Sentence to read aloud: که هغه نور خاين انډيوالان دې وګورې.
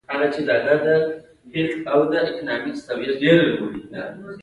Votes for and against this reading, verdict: 2, 1, accepted